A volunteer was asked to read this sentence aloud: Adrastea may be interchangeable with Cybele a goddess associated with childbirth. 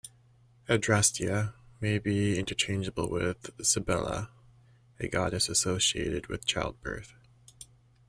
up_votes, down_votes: 2, 0